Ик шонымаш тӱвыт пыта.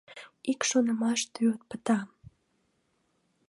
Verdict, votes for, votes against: accepted, 2, 0